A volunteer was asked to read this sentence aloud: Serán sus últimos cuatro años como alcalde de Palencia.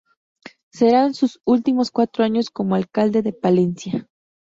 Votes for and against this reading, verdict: 2, 0, accepted